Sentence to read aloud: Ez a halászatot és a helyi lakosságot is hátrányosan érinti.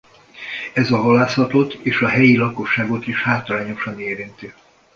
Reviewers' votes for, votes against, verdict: 2, 0, accepted